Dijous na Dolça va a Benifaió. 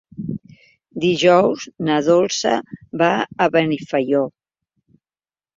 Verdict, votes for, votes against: accepted, 3, 0